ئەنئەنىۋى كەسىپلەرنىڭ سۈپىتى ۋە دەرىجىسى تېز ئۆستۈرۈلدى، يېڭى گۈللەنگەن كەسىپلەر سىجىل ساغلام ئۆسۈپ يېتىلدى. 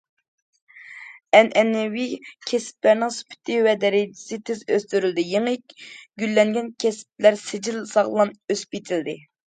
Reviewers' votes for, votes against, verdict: 2, 0, accepted